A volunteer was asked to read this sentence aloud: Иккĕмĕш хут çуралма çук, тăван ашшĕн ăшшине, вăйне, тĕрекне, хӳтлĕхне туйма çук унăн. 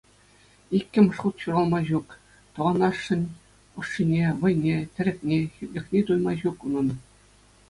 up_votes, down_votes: 2, 0